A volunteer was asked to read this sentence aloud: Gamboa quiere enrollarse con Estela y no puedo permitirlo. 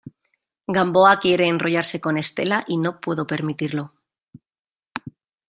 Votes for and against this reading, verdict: 2, 0, accepted